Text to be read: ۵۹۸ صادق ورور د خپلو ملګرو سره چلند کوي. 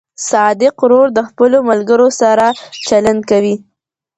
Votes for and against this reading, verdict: 0, 2, rejected